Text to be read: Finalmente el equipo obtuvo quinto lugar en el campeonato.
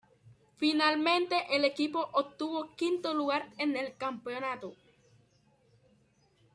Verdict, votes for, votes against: accepted, 2, 0